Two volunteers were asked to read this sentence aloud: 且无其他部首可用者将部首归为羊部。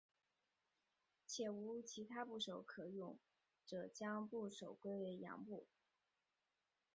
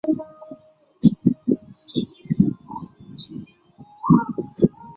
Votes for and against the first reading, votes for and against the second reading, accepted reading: 2, 1, 1, 2, first